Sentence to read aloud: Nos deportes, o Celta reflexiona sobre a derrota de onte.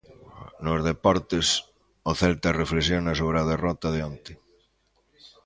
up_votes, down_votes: 2, 0